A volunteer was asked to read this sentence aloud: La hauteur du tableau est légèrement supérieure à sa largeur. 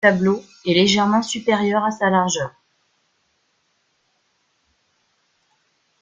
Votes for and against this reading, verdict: 0, 2, rejected